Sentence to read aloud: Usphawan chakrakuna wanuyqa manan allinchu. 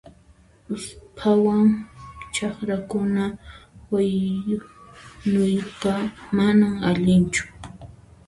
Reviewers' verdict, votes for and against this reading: rejected, 1, 2